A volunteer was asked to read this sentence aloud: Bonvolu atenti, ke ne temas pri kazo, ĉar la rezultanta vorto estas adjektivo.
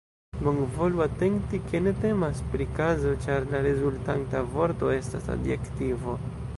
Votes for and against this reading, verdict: 1, 2, rejected